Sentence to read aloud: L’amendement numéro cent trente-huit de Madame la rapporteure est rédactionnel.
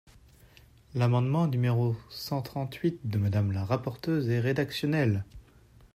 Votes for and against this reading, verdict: 1, 2, rejected